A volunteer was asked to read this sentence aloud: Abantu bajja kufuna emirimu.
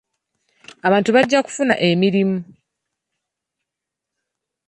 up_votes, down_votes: 2, 0